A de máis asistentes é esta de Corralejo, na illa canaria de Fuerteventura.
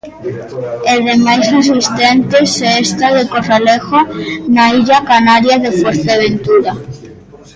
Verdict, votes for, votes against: rejected, 0, 2